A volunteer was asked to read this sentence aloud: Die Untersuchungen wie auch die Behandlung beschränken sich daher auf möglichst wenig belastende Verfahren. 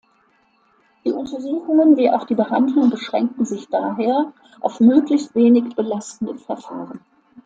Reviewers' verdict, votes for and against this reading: accepted, 2, 0